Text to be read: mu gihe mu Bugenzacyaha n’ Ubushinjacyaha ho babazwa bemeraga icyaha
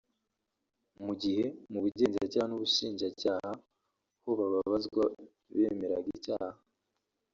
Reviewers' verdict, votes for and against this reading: accepted, 3, 1